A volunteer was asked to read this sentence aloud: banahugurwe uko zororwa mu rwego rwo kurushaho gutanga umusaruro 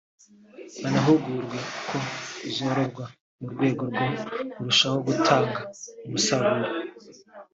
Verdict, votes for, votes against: rejected, 0, 2